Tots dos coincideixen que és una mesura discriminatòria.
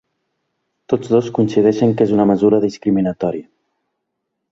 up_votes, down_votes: 1, 2